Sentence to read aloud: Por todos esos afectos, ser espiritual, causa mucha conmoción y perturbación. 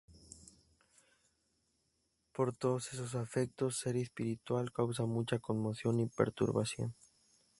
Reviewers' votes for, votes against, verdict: 2, 2, rejected